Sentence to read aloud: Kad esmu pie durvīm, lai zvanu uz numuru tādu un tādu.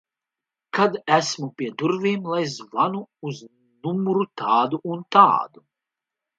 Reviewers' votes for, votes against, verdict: 2, 0, accepted